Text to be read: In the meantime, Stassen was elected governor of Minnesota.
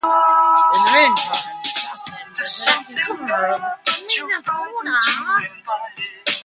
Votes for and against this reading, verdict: 0, 2, rejected